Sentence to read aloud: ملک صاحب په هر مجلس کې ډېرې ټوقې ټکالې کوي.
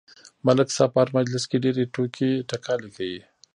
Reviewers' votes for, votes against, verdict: 1, 2, rejected